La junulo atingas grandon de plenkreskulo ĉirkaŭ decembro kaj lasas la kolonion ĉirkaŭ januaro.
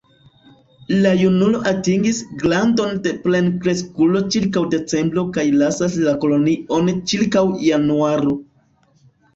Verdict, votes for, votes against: rejected, 0, 2